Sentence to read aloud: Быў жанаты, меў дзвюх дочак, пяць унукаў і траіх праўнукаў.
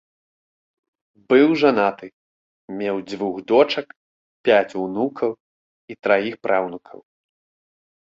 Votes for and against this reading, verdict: 2, 0, accepted